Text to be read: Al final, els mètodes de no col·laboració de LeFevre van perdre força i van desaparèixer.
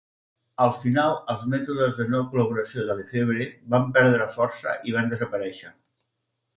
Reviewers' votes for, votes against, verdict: 2, 0, accepted